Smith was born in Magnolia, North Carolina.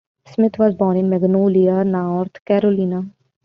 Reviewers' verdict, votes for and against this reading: rejected, 1, 2